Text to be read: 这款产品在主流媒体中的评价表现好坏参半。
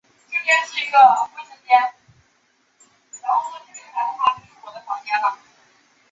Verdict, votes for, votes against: rejected, 0, 2